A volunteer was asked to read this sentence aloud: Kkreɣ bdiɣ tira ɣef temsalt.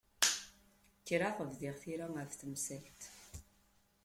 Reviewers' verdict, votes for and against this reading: accepted, 2, 0